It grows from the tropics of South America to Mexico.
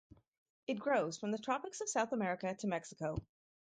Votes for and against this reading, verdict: 4, 0, accepted